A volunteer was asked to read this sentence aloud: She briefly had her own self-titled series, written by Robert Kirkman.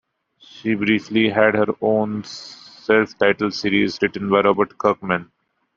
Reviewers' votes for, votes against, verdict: 2, 0, accepted